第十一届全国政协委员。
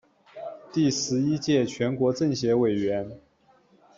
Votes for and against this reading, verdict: 2, 0, accepted